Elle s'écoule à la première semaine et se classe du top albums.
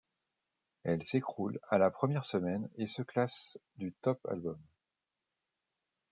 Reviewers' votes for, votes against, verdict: 0, 2, rejected